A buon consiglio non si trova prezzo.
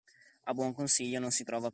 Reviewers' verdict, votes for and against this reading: rejected, 0, 2